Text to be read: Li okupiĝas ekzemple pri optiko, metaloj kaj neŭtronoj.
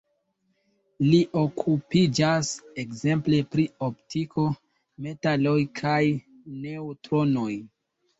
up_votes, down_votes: 2, 0